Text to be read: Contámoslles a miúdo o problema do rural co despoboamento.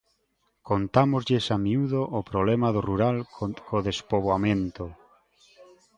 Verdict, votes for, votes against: rejected, 0, 2